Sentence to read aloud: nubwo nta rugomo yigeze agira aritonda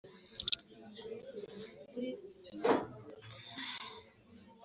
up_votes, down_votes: 3, 2